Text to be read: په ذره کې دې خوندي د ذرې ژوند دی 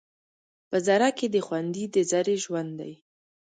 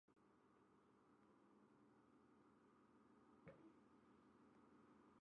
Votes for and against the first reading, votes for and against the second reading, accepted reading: 2, 0, 0, 2, first